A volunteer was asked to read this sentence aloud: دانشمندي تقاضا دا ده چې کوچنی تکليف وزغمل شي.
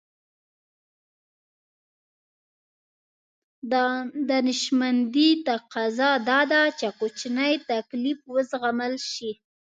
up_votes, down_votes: 0, 2